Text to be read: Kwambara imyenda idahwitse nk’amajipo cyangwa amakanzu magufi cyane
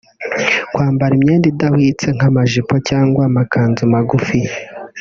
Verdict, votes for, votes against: rejected, 1, 2